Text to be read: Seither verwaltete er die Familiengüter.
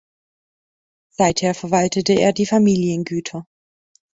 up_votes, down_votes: 2, 0